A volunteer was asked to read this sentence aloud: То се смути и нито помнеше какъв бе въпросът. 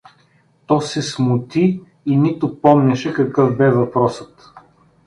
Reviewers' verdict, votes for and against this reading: accepted, 2, 0